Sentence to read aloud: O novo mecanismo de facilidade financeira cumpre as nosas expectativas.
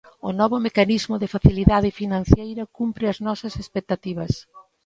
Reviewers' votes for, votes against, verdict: 1, 2, rejected